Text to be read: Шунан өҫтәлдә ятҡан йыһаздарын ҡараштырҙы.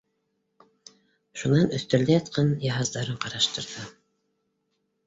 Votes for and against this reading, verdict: 2, 0, accepted